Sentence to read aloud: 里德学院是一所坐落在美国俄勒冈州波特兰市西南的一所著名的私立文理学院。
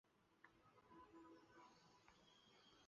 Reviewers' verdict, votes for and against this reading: rejected, 1, 3